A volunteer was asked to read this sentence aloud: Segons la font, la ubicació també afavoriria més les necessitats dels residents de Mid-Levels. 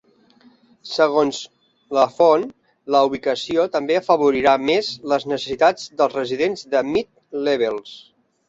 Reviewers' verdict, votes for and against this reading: rejected, 0, 3